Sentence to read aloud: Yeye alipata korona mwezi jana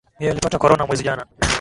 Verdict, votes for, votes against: rejected, 0, 2